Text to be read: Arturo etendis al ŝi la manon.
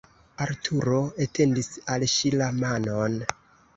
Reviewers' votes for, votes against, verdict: 2, 0, accepted